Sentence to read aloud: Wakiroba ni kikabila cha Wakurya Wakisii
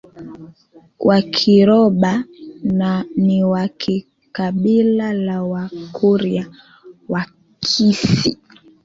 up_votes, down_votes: 1, 2